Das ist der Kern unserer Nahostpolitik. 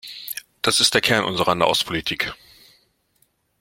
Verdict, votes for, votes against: accepted, 2, 0